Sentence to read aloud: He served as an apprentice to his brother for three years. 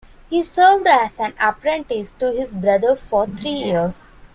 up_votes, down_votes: 2, 1